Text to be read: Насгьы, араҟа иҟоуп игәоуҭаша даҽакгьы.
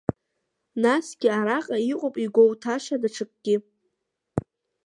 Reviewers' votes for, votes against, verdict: 1, 2, rejected